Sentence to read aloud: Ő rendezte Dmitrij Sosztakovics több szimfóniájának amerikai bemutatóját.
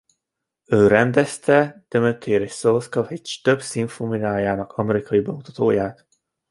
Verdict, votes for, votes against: rejected, 1, 2